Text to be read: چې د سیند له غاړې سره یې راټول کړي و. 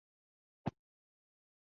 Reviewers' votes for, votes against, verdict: 0, 2, rejected